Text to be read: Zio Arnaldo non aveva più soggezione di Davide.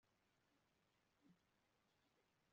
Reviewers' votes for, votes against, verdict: 0, 2, rejected